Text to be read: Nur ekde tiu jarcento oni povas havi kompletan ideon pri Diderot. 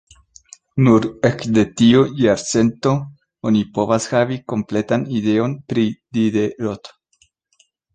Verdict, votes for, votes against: accepted, 2, 0